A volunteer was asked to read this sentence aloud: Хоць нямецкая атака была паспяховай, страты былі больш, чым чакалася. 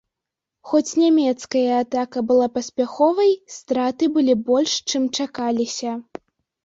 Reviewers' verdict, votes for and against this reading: rejected, 0, 2